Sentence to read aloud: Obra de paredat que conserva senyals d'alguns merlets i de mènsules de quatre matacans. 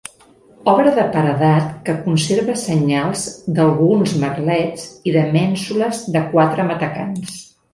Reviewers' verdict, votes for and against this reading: accepted, 2, 0